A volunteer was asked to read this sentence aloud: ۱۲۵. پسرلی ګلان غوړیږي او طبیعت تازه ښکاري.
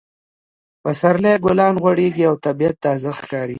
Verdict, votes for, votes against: rejected, 0, 2